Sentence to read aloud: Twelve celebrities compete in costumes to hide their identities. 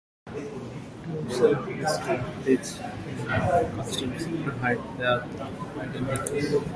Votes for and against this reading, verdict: 0, 2, rejected